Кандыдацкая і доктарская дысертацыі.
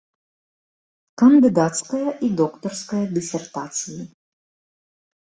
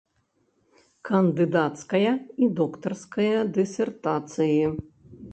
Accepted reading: first